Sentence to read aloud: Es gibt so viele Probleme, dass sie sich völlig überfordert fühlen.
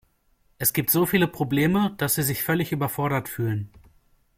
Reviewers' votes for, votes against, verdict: 2, 0, accepted